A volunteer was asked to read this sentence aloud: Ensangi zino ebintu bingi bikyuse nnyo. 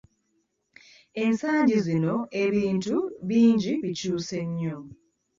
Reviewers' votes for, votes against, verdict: 1, 2, rejected